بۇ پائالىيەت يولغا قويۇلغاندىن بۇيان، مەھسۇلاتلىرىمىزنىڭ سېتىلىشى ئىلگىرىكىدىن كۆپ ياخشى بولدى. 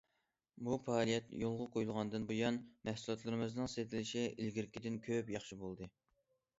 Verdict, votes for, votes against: accepted, 2, 0